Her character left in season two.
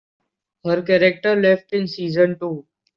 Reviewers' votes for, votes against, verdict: 2, 0, accepted